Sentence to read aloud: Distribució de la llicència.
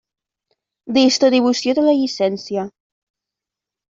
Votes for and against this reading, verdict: 1, 2, rejected